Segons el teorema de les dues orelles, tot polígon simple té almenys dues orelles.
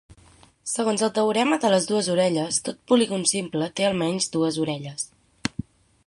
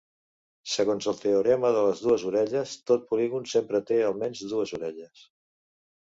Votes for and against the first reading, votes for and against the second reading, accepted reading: 6, 0, 0, 2, first